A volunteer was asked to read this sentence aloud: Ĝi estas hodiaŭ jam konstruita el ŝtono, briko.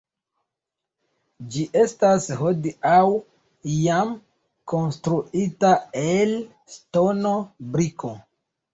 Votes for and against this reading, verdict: 1, 2, rejected